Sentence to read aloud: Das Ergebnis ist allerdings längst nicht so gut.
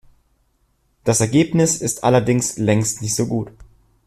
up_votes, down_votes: 2, 0